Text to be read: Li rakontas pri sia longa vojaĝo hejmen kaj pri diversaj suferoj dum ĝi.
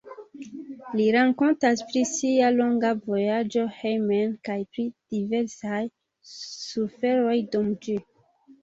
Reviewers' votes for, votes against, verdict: 2, 1, accepted